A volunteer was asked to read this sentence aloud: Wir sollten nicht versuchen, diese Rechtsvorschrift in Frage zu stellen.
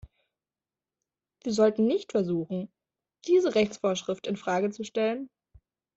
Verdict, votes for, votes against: accepted, 2, 0